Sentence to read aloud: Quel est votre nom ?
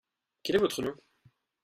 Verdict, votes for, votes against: accepted, 2, 0